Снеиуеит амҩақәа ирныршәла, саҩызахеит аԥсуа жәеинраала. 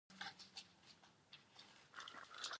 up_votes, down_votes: 1, 2